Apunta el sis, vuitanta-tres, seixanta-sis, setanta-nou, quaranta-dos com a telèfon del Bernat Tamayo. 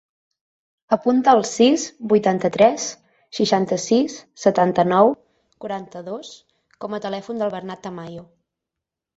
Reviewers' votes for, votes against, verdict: 12, 0, accepted